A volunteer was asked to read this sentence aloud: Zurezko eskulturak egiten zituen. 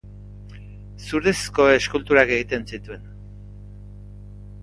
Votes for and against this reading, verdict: 2, 0, accepted